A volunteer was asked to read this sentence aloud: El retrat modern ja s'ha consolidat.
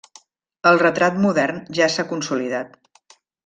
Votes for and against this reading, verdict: 3, 0, accepted